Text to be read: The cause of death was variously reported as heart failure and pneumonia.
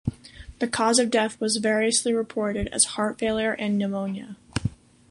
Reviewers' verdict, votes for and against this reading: accepted, 2, 0